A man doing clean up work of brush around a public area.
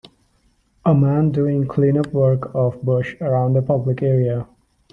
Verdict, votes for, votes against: accepted, 3, 0